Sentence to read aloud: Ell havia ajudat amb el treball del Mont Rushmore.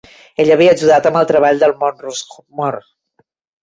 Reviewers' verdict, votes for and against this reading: rejected, 0, 2